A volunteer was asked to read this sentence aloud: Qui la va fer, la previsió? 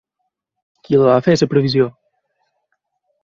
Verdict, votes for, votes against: rejected, 0, 2